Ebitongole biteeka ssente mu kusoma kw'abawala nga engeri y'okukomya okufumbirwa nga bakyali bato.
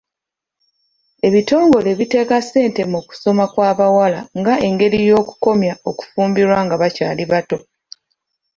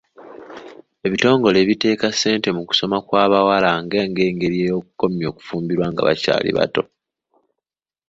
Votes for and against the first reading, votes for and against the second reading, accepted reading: 2, 0, 1, 2, first